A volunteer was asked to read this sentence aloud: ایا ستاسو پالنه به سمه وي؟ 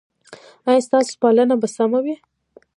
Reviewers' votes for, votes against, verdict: 2, 0, accepted